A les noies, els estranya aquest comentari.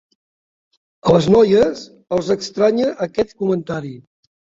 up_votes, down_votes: 3, 0